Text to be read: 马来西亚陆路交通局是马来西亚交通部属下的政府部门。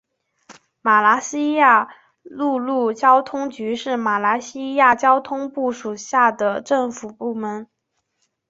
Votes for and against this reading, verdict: 4, 1, accepted